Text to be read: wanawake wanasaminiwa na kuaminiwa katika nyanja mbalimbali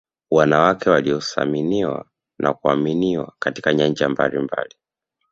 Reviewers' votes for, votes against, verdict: 2, 1, accepted